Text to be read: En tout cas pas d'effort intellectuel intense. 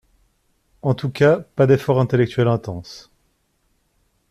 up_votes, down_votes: 2, 0